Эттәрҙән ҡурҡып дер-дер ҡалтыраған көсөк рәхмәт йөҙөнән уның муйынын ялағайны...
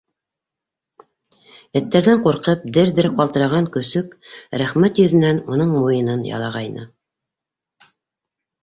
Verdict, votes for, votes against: accepted, 2, 0